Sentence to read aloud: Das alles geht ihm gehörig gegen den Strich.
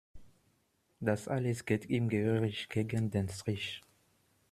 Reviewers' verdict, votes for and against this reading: rejected, 0, 2